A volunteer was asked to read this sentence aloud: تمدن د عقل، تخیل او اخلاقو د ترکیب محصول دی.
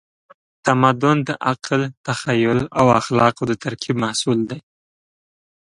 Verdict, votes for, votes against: accepted, 2, 0